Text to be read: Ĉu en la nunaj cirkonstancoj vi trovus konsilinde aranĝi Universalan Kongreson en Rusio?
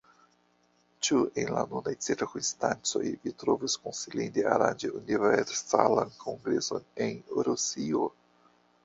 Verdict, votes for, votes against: rejected, 0, 2